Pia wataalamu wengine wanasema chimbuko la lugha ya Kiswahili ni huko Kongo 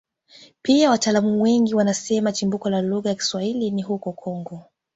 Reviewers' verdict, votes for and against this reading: accepted, 2, 0